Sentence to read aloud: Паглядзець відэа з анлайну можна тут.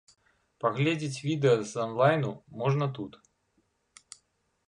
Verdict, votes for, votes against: rejected, 0, 2